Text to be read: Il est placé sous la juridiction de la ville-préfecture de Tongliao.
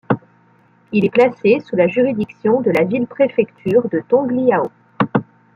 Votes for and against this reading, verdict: 2, 1, accepted